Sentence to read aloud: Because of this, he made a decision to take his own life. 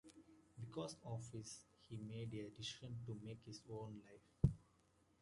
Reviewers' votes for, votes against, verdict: 2, 0, accepted